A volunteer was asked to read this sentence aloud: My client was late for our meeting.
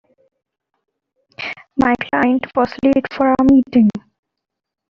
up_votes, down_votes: 2, 1